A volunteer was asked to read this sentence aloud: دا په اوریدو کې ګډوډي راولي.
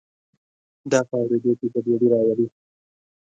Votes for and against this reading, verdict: 1, 2, rejected